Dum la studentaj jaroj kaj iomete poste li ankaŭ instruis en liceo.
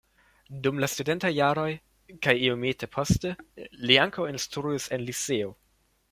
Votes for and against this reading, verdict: 0, 2, rejected